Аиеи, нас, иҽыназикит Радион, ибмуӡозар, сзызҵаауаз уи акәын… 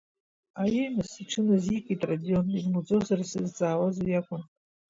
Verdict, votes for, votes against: accepted, 2, 1